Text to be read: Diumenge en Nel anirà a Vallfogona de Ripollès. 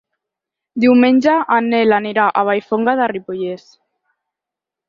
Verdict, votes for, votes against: rejected, 0, 4